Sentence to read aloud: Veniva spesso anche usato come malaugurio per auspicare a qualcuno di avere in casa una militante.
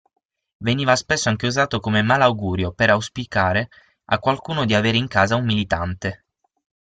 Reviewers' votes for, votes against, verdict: 3, 6, rejected